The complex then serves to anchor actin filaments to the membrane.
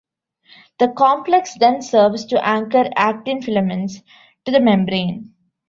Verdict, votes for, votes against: accepted, 2, 1